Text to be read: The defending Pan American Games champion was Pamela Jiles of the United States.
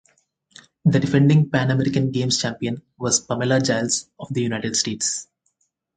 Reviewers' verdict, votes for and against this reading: accepted, 2, 0